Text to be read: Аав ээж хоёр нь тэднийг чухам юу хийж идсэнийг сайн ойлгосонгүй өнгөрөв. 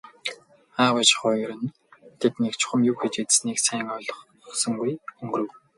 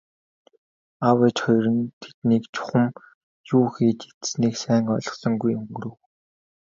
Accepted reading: second